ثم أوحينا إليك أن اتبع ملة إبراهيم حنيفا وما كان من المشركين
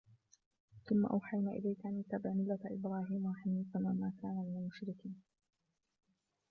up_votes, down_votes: 1, 2